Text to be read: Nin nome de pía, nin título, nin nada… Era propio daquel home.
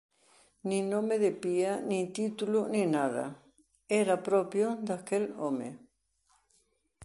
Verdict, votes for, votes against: accepted, 3, 0